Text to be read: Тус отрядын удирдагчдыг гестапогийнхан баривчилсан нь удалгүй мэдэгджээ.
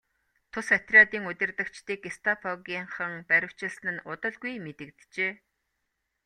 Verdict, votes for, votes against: accepted, 2, 1